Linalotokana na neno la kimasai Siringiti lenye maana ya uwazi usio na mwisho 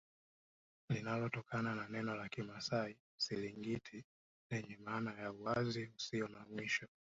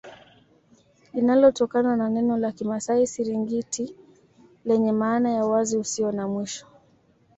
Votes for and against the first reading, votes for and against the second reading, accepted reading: 0, 2, 2, 0, second